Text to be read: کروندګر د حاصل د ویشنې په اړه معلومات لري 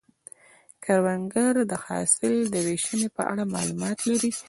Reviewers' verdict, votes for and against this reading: accepted, 2, 0